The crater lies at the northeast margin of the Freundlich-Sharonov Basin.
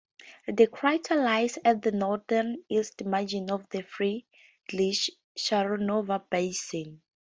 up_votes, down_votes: 0, 2